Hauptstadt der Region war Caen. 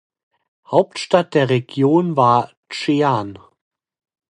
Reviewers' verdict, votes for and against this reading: rejected, 0, 2